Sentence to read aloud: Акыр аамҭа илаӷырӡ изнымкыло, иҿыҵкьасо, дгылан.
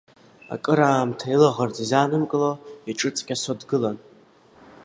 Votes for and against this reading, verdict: 1, 2, rejected